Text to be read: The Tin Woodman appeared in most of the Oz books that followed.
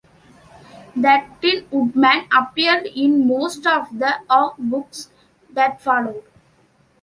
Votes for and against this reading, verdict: 0, 2, rejected